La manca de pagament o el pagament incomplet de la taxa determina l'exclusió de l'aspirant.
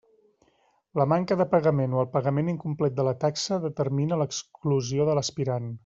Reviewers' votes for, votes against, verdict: 3, 0, accepted